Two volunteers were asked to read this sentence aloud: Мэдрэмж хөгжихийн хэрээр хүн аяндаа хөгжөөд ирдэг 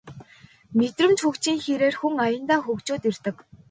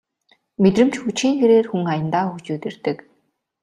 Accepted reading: second